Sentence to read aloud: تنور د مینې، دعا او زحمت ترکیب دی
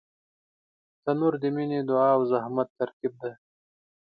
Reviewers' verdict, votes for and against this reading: accepted, 2, 0